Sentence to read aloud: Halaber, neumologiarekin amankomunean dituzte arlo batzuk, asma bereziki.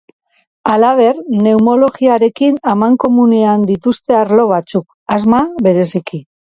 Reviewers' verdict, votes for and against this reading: accepted, 4, 0